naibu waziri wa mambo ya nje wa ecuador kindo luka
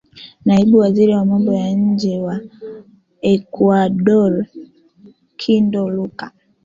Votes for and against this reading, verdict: 2, 1, accepted